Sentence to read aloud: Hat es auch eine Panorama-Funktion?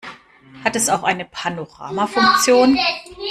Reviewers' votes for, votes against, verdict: 2, 0, accepted